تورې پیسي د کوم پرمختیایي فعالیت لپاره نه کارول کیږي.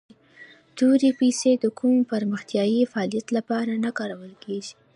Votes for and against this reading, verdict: 0, 2, rejected